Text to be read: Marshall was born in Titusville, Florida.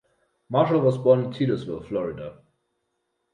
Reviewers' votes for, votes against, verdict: 0, 2, rejected